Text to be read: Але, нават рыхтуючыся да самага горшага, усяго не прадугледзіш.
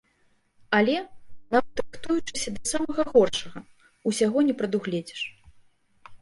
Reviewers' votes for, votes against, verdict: 1, 2, rejected